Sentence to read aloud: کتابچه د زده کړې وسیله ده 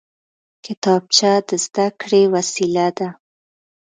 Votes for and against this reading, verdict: 2, 1, accepted